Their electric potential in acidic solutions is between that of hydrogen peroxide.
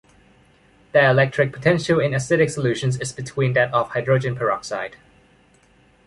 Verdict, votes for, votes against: accepted, 2, 0